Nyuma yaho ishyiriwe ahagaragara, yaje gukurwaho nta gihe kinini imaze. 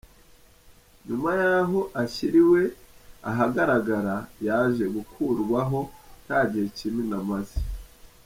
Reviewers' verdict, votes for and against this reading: rejected, 0, 2